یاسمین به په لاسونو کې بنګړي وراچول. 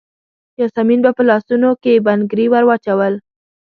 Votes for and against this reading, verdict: 1, 2, rejected